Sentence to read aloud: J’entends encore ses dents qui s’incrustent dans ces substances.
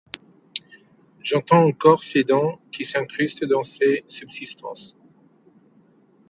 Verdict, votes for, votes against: rejected, 1, 2